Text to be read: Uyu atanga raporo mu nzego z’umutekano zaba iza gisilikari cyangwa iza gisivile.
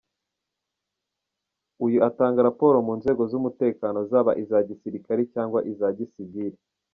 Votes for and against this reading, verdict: 3, 4, rejected